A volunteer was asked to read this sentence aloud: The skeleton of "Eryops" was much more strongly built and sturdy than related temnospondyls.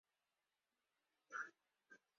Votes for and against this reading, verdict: 0, 4, rejected